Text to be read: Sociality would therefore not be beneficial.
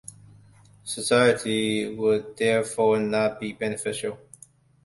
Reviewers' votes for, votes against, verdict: 1, 2, rejected